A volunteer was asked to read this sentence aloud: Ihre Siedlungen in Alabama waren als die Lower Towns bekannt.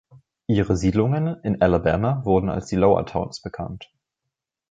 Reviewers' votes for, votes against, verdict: 0, 2, rejected